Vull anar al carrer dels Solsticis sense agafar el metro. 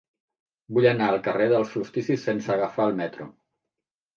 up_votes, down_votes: 2, 0